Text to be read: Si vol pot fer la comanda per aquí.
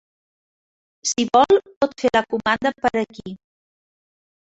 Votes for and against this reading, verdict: 0, 2, rejected